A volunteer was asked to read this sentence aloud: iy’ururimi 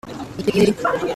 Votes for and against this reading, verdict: 1, 2, rejected